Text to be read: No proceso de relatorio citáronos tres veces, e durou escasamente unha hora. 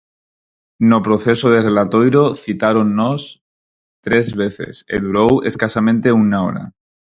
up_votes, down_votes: 0, 4